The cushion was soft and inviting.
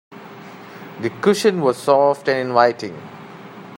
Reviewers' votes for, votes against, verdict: 0, 2, rejected